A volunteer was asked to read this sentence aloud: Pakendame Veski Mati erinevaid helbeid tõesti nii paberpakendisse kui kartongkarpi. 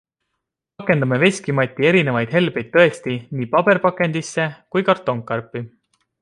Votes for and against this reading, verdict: 2, 1, accepted